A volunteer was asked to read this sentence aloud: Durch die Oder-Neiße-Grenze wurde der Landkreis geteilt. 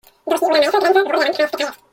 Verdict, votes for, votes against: rejected, 0, 2